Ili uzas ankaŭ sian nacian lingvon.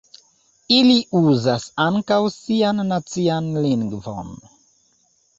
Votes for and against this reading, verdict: 2, 0, accepted